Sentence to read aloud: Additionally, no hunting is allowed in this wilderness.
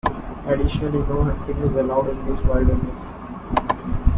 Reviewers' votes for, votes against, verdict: 1, 2, rejected